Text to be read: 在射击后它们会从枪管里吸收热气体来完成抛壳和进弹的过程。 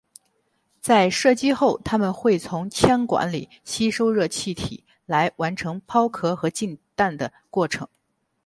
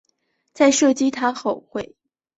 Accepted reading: first